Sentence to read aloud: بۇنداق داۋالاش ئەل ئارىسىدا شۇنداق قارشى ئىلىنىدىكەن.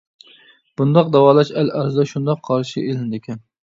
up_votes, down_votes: 0, 2